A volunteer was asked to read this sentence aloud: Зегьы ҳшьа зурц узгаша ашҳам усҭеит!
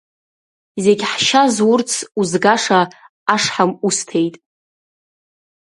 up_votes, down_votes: 2, 0